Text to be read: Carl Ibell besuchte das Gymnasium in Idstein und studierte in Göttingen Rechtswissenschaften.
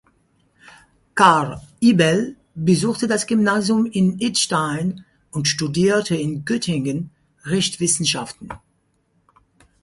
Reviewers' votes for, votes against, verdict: 2, 4, rejected